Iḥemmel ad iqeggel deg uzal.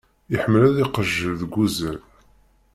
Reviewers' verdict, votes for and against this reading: rejected, 0, 2